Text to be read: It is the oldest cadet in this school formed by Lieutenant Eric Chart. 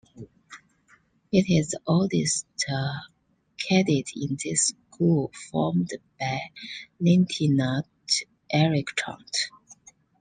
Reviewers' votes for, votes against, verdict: 2, 0, accepted